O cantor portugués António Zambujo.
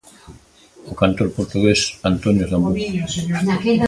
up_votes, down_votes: 0, 2